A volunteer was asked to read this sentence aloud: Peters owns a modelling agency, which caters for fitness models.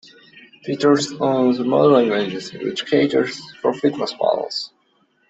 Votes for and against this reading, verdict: 0, 2, rejected